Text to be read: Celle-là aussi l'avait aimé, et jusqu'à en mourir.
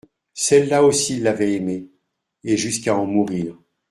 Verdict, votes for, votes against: accepted, 2, 0